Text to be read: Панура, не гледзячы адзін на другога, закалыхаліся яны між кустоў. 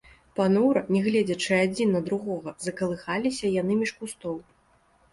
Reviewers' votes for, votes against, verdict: 0, 2, rejected